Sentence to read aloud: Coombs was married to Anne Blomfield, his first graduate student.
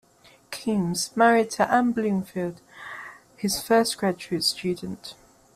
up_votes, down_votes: 0, 2